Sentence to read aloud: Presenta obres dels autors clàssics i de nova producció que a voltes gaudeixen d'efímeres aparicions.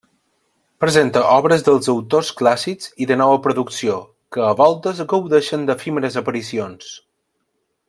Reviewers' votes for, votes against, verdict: 2, 0, accepted